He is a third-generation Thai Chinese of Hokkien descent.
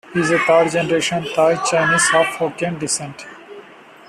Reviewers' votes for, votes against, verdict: 2, 1, accepted